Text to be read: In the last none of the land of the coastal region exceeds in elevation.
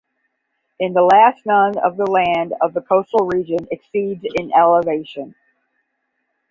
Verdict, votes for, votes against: accepted, 5, 0